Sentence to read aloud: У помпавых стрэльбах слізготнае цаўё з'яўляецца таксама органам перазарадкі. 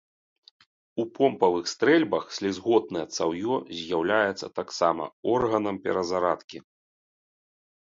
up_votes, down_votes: 3, 0